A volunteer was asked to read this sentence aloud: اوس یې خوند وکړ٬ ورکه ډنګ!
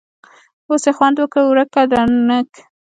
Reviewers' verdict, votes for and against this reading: accepted, 2, 0